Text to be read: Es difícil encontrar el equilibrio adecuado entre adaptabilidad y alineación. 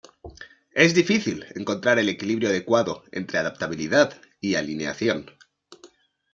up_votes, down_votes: 2, 0